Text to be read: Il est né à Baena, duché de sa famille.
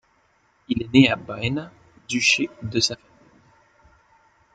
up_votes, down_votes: 1, 3